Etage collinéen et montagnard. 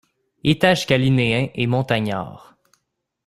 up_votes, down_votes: 0, 2